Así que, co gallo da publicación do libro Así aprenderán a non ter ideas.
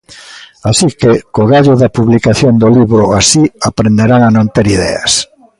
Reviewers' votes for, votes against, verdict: 2, 0, accepted